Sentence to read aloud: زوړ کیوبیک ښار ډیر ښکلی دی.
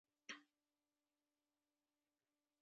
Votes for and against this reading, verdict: 0, 2, rejected